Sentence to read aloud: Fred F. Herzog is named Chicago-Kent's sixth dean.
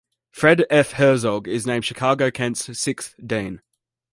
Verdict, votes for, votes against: accepted, 2, 0